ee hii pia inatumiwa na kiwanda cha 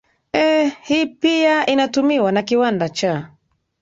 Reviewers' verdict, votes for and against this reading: accepted, 2, 0